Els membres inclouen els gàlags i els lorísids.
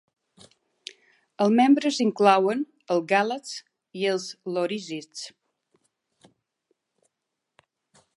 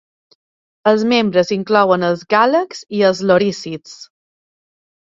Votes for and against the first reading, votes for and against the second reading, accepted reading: 1, 2, 2, 0, second